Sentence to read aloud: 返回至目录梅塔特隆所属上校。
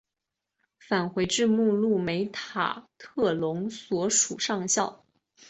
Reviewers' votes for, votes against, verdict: 2, 1, accepted